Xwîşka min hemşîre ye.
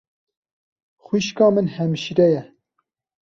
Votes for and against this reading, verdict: 2, 0, accepted